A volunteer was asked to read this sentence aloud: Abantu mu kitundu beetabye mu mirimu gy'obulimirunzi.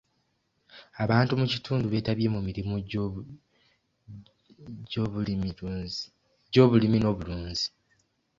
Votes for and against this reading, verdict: 0, 2, rejected